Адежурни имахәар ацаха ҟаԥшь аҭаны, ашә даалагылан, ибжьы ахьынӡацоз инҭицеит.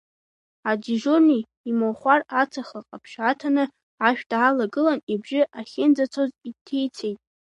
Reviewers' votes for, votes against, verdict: 1, 2, rejected